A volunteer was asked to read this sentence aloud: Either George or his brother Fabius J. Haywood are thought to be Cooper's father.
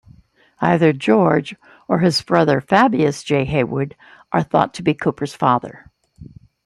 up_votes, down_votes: 2, 0